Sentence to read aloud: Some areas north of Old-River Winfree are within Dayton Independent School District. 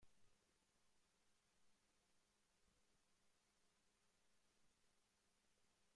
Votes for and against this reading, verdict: 0, 2, rejected